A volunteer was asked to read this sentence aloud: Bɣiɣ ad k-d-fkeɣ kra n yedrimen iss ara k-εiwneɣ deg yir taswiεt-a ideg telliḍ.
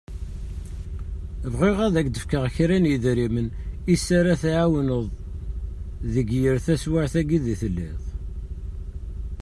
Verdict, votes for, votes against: rejected, 1, 2